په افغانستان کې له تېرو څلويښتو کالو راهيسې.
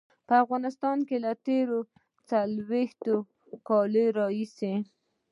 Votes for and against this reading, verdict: 1, 2, rejected